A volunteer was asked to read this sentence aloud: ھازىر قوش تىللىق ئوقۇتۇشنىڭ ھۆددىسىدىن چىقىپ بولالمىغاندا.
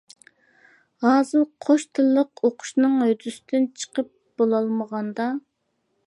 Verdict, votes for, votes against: rejected, 0, 2